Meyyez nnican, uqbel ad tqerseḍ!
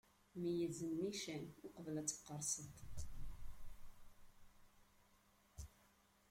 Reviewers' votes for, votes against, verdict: 2, 1, accepted